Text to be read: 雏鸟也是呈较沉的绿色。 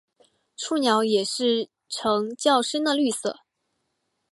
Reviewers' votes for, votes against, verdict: 1, 2, rejected